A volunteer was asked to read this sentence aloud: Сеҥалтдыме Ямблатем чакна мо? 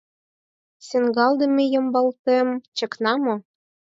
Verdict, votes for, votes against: rejected, 0, 4